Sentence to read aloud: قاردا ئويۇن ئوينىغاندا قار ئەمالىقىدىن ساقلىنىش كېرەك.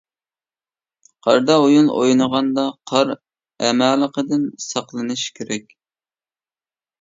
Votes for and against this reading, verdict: 2, 0, accepted